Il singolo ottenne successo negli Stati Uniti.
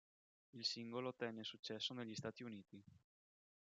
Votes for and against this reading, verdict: 2, 0, accepted